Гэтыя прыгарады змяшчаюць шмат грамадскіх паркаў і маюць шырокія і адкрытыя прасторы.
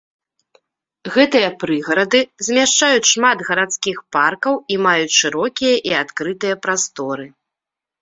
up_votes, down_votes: 1, 2